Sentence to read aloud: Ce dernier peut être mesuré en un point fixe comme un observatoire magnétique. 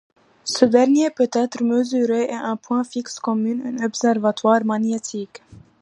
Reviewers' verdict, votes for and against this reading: rejected, 1, 2